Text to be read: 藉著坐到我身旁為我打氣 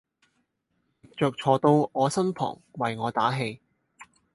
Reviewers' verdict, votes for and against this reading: rejected, 0, 4